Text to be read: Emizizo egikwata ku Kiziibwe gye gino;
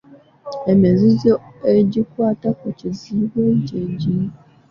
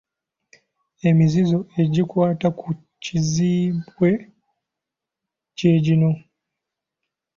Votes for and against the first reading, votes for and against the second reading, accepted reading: 2, 1, 0, 2, first